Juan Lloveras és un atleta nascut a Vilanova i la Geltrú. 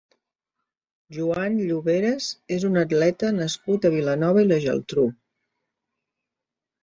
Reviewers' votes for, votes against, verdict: 2, 0, accepted